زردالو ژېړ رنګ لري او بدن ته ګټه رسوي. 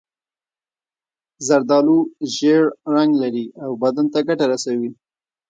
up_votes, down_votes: 2, 0